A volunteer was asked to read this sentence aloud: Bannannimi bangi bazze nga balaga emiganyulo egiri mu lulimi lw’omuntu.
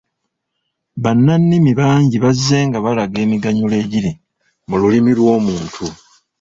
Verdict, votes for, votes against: rejected, 1, 2